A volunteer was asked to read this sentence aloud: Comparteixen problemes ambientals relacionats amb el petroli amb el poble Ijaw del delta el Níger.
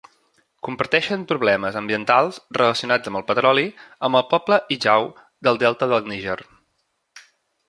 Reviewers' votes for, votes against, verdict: 1, 2, rejected